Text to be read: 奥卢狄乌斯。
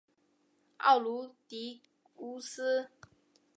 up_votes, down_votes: 2, 0